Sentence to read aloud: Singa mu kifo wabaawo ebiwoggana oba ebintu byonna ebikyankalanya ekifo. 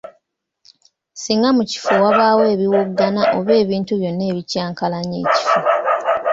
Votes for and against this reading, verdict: 2, 0, accepted